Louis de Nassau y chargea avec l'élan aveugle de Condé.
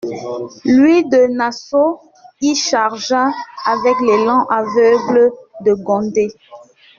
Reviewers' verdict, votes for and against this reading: rejected, 1, 2